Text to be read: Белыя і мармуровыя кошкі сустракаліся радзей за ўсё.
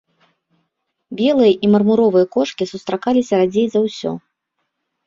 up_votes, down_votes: 2, 0